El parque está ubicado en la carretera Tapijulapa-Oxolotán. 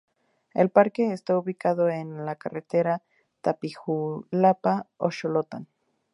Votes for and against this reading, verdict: 0, 2, rejected